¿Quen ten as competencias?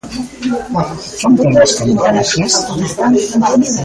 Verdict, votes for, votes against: rejected, 0, 2